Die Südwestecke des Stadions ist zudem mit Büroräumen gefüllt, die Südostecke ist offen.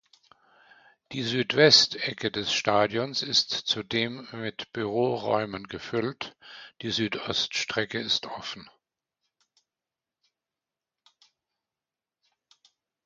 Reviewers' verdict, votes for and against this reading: rejected, 0, 2